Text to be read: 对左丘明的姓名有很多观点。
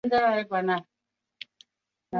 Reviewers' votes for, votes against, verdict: 0, 4, rejected